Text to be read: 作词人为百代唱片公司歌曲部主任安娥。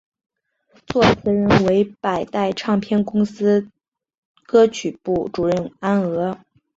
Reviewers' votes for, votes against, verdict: 2, 2, rejected